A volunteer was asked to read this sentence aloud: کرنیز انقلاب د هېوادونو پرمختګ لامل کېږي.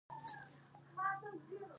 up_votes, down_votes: 1, 2